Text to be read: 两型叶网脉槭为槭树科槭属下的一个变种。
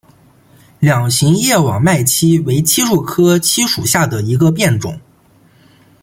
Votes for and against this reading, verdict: 2, 0, accepted